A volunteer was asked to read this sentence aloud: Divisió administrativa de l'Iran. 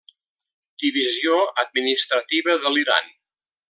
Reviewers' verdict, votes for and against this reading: accepted, 3, 0